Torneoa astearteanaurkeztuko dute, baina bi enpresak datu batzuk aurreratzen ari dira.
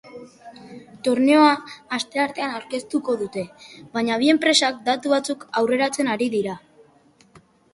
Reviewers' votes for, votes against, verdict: 2, 0, accepted